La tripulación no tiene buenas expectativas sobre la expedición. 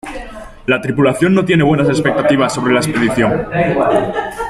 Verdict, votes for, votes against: accepted, 3, 1